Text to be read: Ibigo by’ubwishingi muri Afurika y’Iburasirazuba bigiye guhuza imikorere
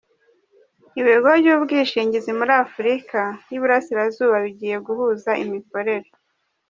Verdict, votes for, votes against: rejected, 1, 2